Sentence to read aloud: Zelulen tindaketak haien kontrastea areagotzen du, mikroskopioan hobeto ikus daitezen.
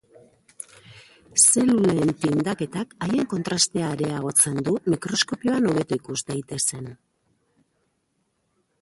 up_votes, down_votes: 0, 2